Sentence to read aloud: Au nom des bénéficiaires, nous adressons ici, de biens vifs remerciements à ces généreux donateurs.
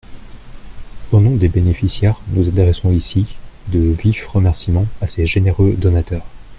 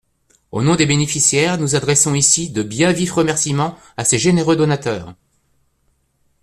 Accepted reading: second